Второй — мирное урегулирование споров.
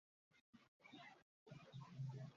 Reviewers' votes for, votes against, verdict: 0, 2, rejected